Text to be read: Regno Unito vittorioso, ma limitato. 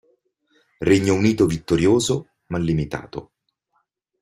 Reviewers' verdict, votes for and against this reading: accepted, 2, 0